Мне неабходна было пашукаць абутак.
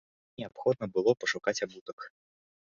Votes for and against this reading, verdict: 0, 2, rejected